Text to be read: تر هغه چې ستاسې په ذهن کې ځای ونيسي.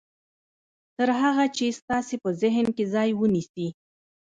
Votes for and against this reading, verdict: 0, 2, rejected